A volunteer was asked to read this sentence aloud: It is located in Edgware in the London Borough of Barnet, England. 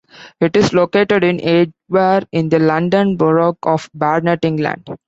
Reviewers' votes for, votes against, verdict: 0, 2, rejected